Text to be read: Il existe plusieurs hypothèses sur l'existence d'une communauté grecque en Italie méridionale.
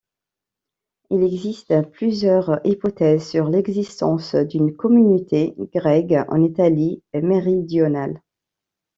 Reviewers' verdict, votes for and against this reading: rejected, 1, 2